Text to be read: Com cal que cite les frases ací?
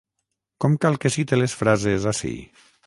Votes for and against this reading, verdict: 3, 3, rejected